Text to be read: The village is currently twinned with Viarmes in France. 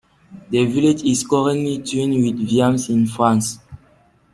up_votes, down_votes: 1, 2